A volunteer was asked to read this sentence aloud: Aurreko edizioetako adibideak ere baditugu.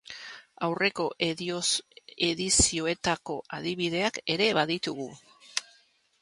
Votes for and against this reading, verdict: 0, 3, rejected